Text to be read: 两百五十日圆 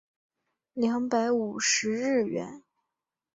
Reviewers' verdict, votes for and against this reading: accepted, 3, 1